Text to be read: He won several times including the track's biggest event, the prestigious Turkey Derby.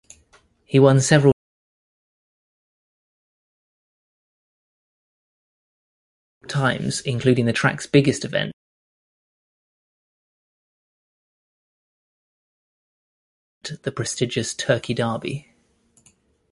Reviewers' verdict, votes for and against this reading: rejected, 1, 2